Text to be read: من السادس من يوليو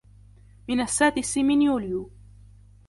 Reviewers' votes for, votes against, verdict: 2, 0, accepted